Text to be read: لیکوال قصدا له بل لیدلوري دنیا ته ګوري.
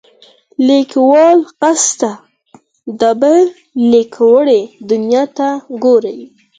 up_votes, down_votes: 2, 4